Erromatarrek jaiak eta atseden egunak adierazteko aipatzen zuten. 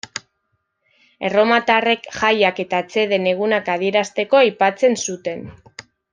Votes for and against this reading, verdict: 2, 0, accepted